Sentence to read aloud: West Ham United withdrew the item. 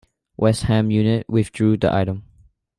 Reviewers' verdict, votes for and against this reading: rejected, 1, 2